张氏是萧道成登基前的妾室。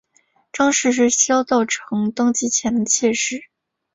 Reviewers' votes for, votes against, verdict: 2, 0, accepted